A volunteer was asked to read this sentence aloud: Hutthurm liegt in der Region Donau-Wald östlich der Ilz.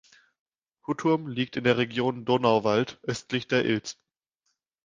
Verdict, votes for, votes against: rejected, 1, 2